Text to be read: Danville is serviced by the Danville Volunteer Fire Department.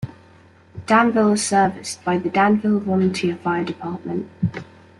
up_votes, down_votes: 2, 1